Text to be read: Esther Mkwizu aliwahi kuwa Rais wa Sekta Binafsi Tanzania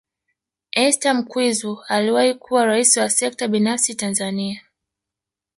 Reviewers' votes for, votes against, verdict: 1, 2, rejected